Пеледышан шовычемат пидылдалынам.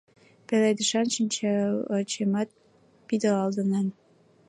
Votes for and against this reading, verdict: 1, 2, rejected